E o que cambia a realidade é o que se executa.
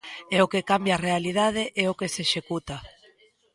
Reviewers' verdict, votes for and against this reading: accepted, 2, 0